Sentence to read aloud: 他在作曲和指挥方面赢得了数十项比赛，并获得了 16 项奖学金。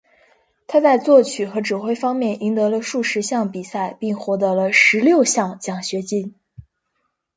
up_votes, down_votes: 0, 2